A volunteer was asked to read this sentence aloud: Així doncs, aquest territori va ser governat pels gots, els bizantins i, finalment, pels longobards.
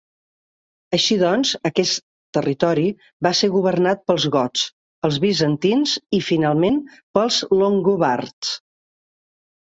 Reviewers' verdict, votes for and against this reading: accepted, 3, 0